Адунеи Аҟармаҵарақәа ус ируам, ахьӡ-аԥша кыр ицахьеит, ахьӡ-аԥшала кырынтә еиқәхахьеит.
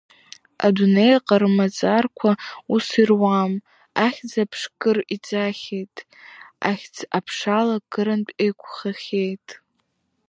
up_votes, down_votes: 0, 2